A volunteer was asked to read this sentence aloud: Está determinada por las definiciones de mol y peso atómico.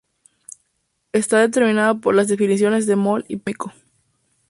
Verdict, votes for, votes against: rejected, 0, 2